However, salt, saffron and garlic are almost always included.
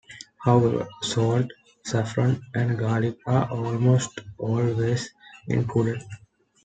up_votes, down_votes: 2, 0